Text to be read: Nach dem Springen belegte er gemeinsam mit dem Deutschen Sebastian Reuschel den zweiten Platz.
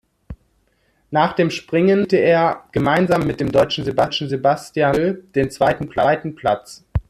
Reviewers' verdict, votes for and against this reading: rejected, 0, 2